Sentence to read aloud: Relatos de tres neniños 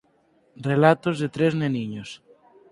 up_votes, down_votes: 4, 0